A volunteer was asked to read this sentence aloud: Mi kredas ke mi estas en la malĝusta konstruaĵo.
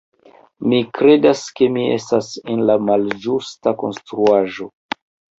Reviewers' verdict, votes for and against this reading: rejected, 1, 2